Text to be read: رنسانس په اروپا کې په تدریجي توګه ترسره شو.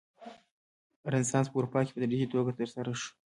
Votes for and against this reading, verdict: 2, 1, accepted